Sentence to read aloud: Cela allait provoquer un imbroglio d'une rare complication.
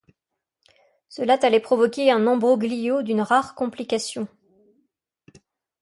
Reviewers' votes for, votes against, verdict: 1, 2, rejected